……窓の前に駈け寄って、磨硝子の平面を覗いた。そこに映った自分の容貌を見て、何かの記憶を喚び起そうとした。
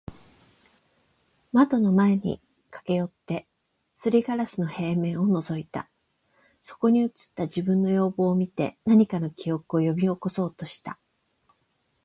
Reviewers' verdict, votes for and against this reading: accepted, 8, 0